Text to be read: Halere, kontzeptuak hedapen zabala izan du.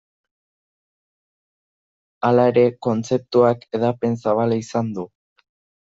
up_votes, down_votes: 2, 1